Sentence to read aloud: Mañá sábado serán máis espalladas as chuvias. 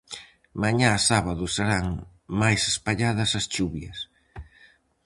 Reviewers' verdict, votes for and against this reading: accepted, 4, 0